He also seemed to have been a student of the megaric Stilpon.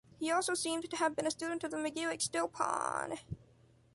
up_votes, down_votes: 0, 2